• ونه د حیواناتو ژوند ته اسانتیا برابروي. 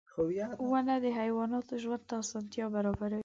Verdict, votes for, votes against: accepted, 2, 0